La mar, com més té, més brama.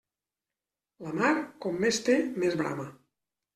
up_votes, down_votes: 0, 2